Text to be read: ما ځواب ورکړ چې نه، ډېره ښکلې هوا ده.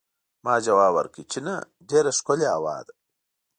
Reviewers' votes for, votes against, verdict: 0, 2, rejected